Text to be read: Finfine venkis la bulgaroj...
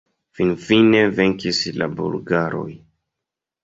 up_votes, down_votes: 2, 0